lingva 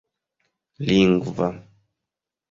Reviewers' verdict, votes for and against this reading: accepted, 3, 0